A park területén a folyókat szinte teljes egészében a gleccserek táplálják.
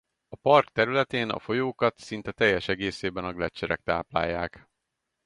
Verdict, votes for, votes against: rejected, 2, 2